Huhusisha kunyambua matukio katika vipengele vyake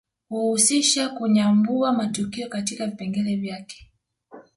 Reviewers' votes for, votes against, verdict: 2, 0, accepted